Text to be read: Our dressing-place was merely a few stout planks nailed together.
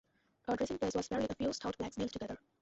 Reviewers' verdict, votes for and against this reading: rejected, 0, 2